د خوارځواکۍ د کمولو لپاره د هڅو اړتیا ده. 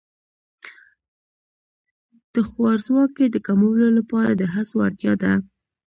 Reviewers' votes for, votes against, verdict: 2, 0, accepted